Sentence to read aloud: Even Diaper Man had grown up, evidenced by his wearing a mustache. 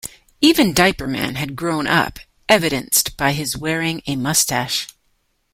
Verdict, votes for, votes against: accepted, 2, 0